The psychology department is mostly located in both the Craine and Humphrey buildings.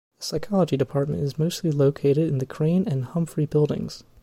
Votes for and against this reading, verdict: 0, 2, rejected